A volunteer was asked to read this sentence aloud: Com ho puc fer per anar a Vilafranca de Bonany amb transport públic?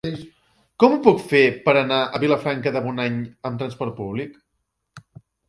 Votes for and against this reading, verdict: 2, 1, accepted